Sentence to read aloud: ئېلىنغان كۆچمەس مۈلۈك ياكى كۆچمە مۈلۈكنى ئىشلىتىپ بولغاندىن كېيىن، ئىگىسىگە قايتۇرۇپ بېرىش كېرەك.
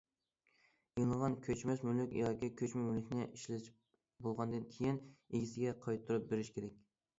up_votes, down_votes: 2, 0